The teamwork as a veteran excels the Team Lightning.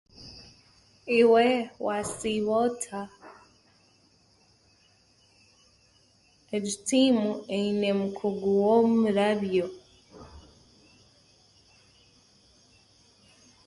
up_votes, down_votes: 0, 2